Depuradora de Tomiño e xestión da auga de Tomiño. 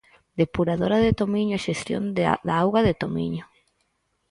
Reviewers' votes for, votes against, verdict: 2, 4, rejected